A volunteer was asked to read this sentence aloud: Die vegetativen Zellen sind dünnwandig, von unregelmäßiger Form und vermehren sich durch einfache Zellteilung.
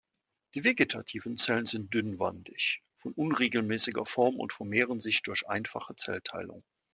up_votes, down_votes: 2, 0